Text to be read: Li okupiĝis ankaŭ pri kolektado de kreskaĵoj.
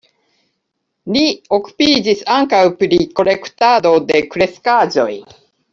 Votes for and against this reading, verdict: 2, 1, accepted